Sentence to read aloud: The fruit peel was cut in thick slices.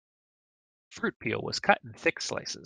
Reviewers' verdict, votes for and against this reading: rejected, 1, 2